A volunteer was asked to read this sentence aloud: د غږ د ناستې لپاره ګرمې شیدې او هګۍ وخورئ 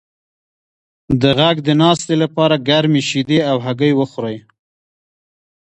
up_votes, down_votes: 1, 2